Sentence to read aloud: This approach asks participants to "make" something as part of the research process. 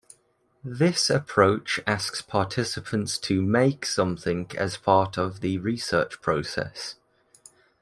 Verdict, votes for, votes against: accepted, 2, 0